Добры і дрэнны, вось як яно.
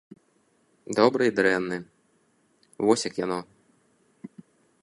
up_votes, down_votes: 2, 0